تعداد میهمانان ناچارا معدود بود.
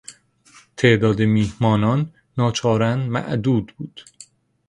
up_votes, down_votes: 2, 0